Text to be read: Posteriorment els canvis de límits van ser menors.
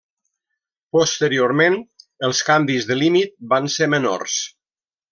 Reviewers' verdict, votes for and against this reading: rejected, 1, 2